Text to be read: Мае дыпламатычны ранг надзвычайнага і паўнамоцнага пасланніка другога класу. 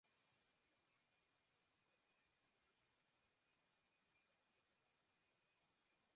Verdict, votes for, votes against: rejected, 0, 2